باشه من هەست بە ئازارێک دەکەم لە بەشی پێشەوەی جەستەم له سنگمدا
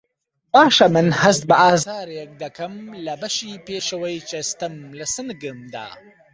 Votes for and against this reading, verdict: 1, 2, rejected